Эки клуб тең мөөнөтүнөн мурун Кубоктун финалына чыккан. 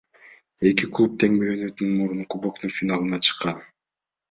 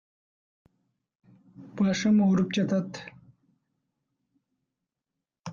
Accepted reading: first